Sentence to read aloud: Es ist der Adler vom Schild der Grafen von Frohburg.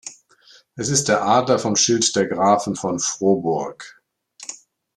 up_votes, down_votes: 2, 0